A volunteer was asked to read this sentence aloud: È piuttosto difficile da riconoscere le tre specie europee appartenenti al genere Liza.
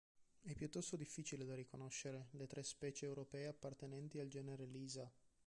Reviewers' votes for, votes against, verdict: 1, 2, rejected